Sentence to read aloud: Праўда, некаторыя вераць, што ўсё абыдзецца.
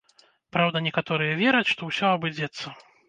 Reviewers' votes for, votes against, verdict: 1, 2, rejected